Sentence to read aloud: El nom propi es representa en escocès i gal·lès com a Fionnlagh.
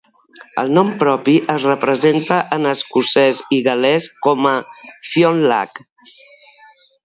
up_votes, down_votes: 2, 0